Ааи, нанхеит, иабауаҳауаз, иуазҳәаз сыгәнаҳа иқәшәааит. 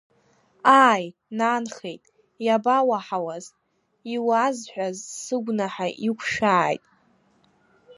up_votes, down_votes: 2, 0